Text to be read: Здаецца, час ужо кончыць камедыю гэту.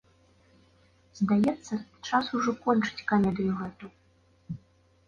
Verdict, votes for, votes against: accepted, 3, 0